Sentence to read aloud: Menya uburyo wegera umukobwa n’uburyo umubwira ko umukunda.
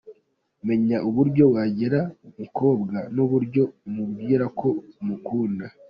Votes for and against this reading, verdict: 1, 2, rejected